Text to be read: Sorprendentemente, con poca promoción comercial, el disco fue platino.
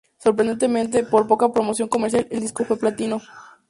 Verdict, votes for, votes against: accepted, 2, 0